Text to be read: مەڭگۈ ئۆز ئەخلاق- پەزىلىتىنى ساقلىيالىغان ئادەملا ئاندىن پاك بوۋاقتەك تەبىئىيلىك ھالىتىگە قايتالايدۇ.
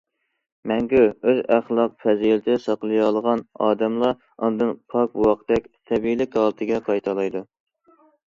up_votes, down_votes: 2, 1